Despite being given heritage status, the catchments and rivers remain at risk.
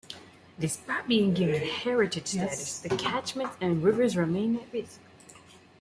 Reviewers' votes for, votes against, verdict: 2, 1, accepted